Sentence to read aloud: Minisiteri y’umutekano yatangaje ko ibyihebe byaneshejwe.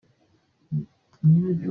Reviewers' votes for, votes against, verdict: 0, 2, rejected